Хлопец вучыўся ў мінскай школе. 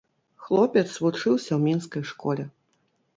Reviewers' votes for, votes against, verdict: 2, 0, accepted